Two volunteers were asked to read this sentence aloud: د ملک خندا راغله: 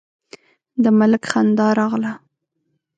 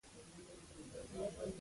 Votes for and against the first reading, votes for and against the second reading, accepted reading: 2, 0, 0, 2, first